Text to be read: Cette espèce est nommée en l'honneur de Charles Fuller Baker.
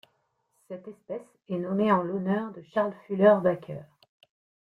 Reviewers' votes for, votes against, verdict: 2, 0, accepted